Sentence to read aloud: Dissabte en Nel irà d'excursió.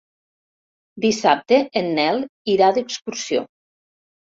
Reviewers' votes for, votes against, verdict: 4, 0, accepted